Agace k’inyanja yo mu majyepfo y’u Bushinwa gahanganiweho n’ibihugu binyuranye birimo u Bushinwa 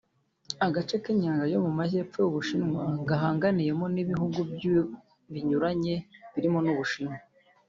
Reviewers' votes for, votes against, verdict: 1, 2, rejected